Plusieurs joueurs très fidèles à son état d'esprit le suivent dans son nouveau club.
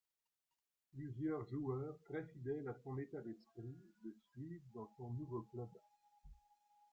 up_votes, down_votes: 0, 2